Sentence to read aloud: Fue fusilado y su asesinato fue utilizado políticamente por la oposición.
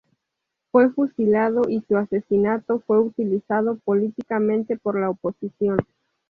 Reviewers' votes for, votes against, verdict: 2, 0, accepted